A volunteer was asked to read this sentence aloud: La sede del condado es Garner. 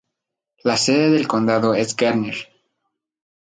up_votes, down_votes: 2, 0